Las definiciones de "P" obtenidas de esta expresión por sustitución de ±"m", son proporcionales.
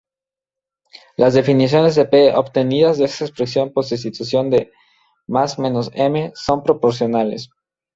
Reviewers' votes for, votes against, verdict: 0, 2, rejected